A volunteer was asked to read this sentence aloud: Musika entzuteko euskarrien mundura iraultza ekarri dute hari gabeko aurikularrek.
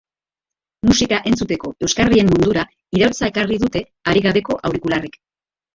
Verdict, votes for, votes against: rejected, 2, 2